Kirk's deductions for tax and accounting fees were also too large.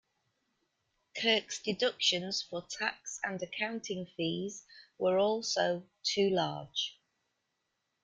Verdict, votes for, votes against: accepted, 2, 0